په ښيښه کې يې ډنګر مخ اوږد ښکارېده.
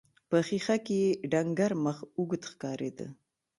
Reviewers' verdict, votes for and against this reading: accepted, 2, 0